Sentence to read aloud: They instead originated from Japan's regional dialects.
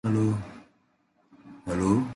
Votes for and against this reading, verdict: 0, 2, rejected